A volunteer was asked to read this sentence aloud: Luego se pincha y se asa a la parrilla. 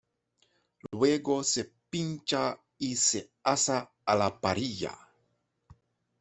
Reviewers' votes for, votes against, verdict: 1, 2, rejected